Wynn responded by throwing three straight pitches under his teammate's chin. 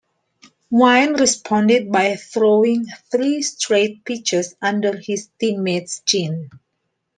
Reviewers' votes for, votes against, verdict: 2, 0, accepted